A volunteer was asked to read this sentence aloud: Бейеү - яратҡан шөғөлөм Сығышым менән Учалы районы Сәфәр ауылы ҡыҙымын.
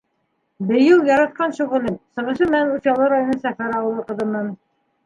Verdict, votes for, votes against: rejected, 1, 2